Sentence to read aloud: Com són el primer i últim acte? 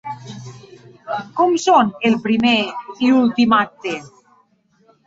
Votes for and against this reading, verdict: 1, 2, rejected